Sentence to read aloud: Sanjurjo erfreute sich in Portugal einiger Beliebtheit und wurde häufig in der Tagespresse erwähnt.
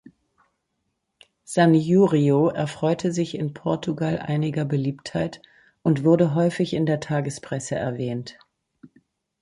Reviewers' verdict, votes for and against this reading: rejected, 0, 2